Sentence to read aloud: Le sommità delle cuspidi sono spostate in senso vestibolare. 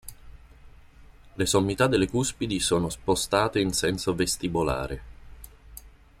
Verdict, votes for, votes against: accepted, 2, 0